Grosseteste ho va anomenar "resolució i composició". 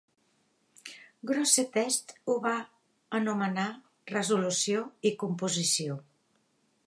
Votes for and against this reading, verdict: 2, 0, accepted